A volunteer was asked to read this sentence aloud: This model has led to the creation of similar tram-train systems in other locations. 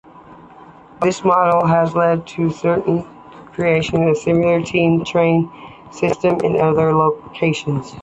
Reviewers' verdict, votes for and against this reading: rejected, 0, 2